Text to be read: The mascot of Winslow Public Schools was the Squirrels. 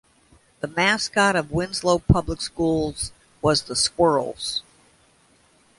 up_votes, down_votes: 2, 1